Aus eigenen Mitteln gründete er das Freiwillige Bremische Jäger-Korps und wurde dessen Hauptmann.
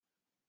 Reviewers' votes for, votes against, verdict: 0, 2, rejected